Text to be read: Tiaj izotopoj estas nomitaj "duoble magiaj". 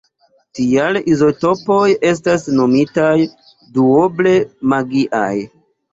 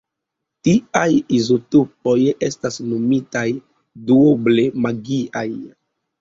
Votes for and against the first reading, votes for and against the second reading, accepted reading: 0, 2, 2, 0, second